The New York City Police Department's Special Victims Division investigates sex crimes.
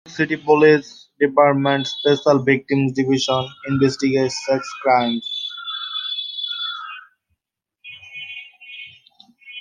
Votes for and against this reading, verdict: 0, 2, rejected